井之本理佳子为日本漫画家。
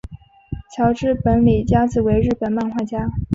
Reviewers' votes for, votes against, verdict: 4, 1, accepted